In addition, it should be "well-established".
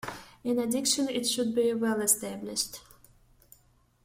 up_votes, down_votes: 1, 2